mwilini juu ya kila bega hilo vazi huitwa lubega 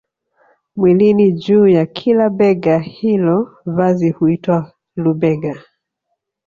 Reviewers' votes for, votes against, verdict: 1, 2, rejected